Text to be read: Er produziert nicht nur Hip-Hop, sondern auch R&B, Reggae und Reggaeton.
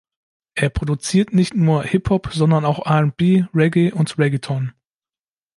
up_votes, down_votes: 2, 0